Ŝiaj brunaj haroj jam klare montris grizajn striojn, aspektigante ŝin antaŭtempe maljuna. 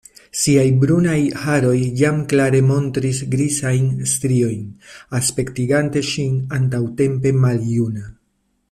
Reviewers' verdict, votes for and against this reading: rejected, 1, 2